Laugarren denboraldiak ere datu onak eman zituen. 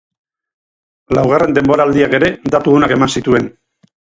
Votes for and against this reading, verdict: 4, 0, accepted